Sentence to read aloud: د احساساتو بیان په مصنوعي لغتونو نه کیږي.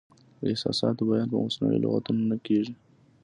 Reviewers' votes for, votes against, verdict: 2, 0, accepted